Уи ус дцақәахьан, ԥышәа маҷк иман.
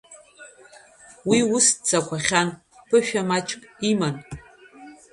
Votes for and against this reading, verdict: 2, 0, accepted